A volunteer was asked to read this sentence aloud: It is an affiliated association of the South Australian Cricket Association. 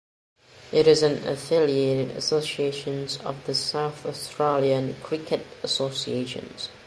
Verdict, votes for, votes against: rejected, 0, 2